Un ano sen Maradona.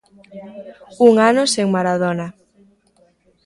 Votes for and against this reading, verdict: 1, 2, rejected